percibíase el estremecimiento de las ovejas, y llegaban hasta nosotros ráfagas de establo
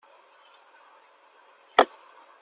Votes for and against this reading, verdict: 0, 2, rejected